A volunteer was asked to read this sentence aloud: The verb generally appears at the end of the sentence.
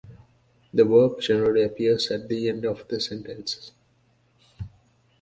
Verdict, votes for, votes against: accepted, 2, 0